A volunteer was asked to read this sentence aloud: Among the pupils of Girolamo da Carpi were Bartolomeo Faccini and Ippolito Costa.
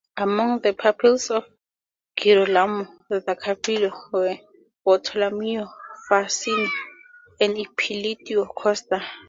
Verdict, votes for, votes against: rejected, 0, 4